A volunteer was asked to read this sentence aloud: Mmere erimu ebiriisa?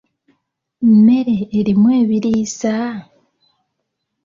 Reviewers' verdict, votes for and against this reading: accepted, 2, 0